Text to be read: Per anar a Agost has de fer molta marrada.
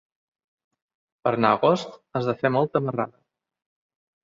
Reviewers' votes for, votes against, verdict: 0, 2, rejected